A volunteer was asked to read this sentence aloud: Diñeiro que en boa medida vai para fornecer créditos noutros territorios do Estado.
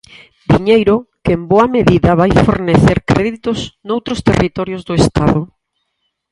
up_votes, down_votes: 0, 4